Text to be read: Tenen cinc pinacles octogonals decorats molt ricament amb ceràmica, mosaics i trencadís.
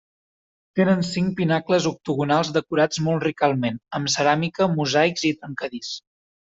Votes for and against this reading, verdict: 0, 3, rejected